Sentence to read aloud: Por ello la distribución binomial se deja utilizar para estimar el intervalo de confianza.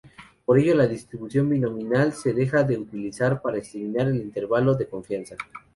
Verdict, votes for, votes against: rejected, 0, 2